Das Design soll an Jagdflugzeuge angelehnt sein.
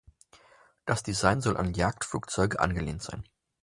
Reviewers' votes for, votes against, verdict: 2, 0, accepted